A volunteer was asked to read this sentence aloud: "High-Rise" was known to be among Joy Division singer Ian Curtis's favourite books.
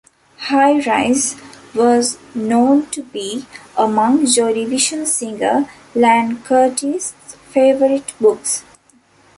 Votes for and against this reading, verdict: 0, 2, rejected